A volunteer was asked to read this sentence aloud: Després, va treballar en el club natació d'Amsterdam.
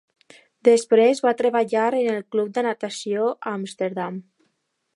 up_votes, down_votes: 0, 2